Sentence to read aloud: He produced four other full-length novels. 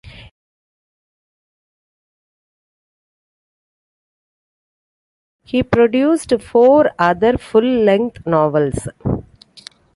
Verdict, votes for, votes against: rejected, 1, 2